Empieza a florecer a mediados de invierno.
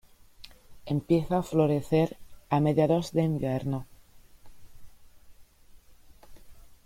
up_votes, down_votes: 2, 0